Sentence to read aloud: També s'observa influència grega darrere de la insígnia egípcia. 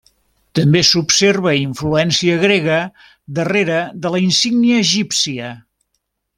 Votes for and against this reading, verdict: 2, 0, accepted